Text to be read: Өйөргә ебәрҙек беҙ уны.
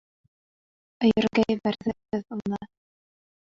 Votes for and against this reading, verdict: 0, 2, rejected